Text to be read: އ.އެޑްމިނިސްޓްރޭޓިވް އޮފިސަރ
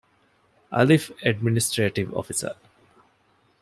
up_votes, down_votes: 2, 0